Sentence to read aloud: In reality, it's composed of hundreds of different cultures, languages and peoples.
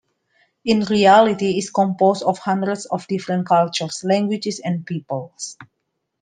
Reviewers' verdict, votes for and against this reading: accepted, 2, 1